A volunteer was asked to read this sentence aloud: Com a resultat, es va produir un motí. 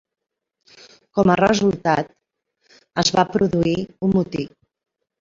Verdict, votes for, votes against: accepted, 3, 0